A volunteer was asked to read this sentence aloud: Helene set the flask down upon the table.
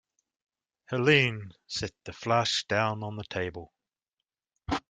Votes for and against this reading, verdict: 0, 2, rejected